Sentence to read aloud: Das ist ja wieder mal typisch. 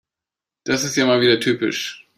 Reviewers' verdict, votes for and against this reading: accepted, 2, 0